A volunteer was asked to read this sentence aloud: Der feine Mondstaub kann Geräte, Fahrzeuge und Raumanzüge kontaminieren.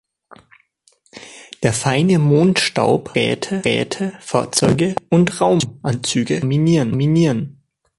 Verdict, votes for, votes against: rejected, 0, 2